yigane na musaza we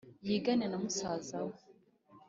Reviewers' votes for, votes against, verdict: 2, 0, accepted